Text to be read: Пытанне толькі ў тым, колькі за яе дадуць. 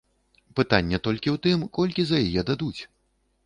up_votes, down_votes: 2, 0